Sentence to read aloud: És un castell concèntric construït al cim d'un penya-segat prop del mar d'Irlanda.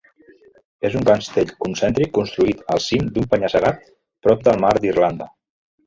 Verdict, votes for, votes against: rejected, 0, 2